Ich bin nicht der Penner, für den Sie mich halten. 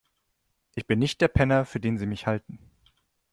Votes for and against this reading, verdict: 2, 0, accepted